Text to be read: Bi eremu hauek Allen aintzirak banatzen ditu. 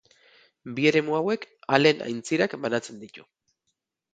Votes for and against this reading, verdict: 4, 0, accepted